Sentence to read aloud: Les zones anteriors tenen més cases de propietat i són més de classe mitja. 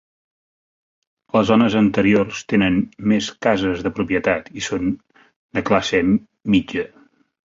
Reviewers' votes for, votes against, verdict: 1, 2, rejected